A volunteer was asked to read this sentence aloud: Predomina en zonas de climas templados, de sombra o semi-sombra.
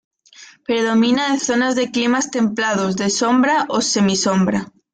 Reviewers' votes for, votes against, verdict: 2, 0, accepted